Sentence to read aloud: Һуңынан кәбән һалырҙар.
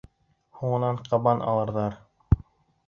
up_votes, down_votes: 1, 2